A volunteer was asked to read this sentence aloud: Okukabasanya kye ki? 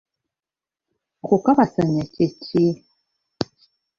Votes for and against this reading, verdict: 1, 2, rejected